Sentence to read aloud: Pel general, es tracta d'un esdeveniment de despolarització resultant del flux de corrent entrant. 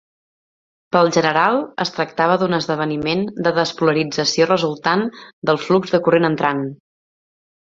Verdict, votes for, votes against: rejected, 0, 2